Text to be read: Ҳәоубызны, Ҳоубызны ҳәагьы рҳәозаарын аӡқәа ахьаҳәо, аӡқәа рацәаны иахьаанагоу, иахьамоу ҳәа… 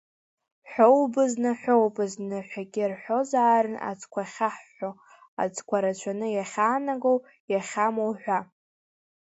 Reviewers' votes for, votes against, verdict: 0, 2, rejected